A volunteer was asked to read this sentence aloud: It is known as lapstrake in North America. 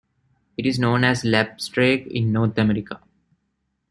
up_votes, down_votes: 2, 0